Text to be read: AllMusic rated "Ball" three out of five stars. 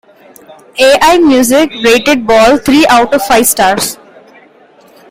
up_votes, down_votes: 2, 0